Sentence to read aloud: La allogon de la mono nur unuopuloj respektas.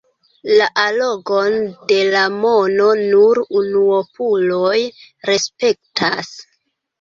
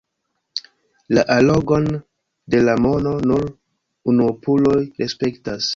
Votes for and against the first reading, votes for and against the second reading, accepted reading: 0, 2, 2, 0, second